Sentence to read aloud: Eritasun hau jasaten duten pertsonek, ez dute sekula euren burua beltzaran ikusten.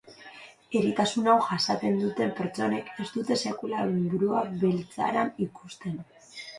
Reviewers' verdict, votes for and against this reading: rejected, 1, 2